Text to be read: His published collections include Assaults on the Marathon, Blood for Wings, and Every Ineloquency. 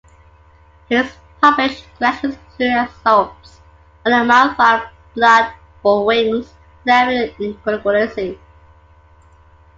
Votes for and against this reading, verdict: 0, 2, rejected